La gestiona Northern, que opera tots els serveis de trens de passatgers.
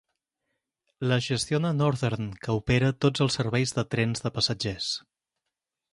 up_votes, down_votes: 4, 0